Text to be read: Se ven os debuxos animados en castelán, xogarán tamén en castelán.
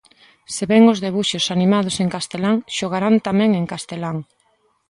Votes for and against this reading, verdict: 2, 0, accepted